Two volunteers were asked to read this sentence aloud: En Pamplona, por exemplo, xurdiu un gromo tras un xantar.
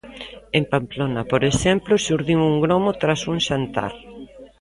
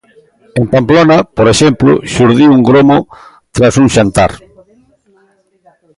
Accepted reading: first